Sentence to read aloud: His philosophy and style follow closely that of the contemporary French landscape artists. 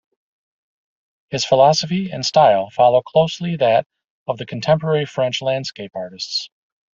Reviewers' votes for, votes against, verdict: 2, 0, accepted